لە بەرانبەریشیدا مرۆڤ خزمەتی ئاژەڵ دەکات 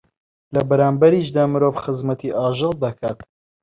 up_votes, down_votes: 0, 2